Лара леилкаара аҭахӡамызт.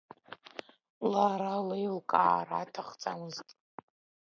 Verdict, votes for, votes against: rejected, 1, 2